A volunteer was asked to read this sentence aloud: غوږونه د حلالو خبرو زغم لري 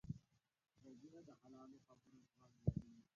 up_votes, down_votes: 1, 2